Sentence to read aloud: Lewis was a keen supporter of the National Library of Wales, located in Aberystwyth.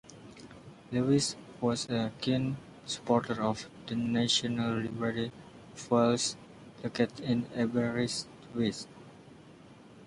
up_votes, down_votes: 0, 2